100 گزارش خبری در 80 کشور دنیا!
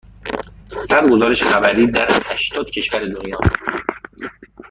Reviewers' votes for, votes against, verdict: 0, 2, rejected